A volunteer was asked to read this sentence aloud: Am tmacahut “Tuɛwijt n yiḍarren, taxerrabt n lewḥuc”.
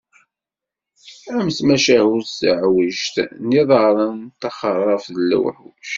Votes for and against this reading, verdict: 1, 2, rejected